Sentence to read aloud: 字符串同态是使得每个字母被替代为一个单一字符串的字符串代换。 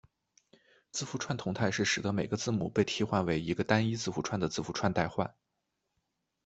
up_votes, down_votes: 2, 0